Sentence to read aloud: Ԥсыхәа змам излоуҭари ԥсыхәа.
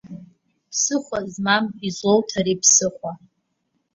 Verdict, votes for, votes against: accepted, 2, 0